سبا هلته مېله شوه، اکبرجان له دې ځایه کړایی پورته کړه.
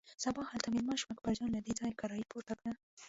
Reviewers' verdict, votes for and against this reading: rejected, 0, 2